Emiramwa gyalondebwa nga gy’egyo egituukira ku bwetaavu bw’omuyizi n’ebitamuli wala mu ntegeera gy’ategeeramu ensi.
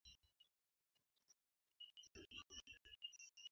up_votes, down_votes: 0, 2